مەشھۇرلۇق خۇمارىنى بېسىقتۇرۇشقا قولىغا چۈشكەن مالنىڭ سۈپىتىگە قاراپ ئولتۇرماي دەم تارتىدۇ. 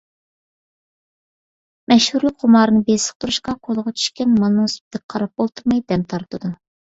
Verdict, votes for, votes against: accepted, 2, 0